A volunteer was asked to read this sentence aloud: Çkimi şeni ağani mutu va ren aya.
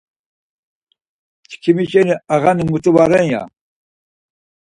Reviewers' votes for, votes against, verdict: 2, 4, rejected